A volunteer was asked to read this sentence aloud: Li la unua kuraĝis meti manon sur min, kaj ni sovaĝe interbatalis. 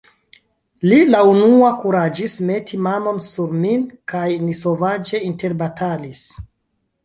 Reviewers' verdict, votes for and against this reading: accepted, 2, 0